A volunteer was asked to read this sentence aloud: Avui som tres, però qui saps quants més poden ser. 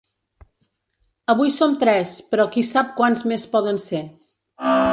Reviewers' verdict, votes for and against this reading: rejected, 1, 2